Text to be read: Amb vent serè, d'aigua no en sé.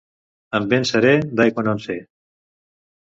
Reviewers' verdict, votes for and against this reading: accepted, 2, 0